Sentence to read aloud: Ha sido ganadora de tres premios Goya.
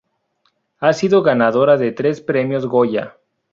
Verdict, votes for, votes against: accepted, 4, 2